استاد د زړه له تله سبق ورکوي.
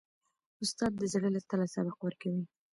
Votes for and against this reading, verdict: 1, 2, rejected